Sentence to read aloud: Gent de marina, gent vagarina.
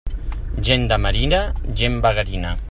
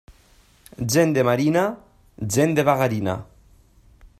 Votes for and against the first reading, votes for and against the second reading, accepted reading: 2, 0, 1, 2, first